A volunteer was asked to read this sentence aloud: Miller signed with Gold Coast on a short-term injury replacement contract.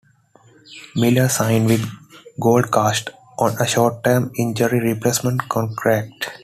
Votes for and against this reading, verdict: 2, 1, accepted